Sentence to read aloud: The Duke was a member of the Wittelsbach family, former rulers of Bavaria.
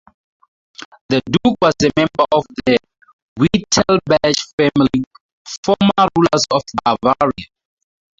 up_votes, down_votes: 0, 2